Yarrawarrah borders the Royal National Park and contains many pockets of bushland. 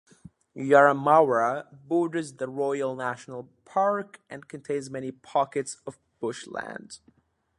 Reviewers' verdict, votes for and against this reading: rejected, 0, 2